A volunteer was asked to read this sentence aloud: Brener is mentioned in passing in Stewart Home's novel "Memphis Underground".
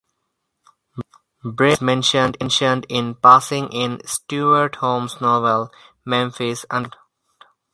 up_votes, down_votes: 0, 4